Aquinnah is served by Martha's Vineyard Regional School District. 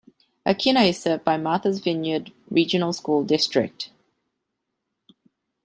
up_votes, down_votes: 2, 0